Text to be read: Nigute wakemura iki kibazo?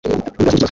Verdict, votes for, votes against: rejected, 0, 2